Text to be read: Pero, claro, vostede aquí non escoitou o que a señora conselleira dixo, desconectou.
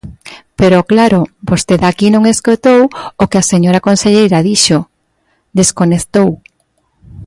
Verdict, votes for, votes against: accepted, 2, 0